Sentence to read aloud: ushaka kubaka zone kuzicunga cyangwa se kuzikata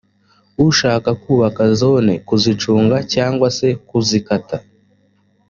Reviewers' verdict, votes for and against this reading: accepted, 2, 0